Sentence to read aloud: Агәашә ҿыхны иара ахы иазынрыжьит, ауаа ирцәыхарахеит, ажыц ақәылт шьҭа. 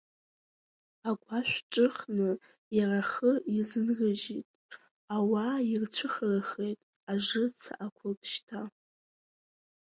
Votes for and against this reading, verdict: 2, 0, accepted